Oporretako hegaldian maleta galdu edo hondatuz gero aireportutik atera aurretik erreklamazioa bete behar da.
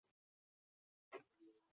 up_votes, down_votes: 0, 2